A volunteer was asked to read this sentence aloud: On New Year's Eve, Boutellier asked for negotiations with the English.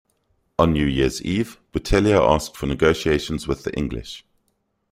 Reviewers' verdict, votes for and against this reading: accepted, 2, 0